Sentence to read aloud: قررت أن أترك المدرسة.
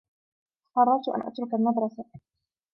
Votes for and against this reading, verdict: 2, 1, accepted